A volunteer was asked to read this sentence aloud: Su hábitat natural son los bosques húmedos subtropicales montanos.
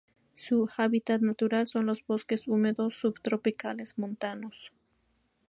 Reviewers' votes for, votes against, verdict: 2, 0, accepted